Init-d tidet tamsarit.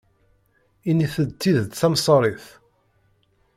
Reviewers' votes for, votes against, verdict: 2, 1, accepted